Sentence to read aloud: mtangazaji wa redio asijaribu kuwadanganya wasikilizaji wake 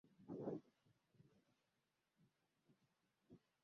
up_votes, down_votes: 0, 3